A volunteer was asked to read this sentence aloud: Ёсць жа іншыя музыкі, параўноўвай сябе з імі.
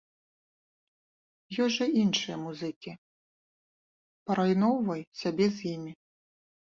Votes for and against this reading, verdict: 1, 2, rejected